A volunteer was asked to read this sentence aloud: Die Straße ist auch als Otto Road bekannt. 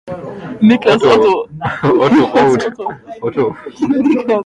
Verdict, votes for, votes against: rejected, 0, 2